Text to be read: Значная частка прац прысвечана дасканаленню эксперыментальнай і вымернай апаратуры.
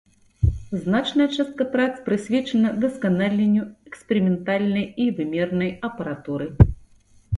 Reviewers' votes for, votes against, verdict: 2, 0, accepted